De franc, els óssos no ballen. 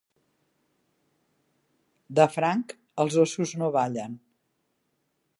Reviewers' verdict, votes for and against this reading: accepted, 2, 0